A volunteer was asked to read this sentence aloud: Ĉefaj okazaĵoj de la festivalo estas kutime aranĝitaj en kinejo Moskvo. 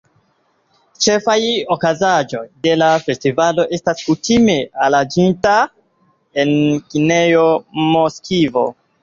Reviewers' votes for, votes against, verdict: 2, 1, accepted